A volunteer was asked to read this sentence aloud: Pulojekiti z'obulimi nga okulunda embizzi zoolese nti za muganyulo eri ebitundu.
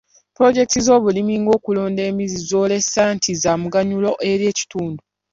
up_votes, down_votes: 0, 2